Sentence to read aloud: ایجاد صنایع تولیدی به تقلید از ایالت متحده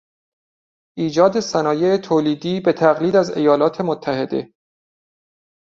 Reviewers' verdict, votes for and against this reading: accepted, 2, 0